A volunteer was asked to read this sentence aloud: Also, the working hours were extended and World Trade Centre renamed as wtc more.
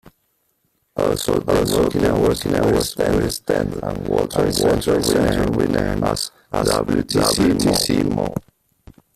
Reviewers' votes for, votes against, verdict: 0, 2, rejected